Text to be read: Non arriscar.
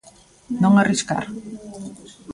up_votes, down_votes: 2, 0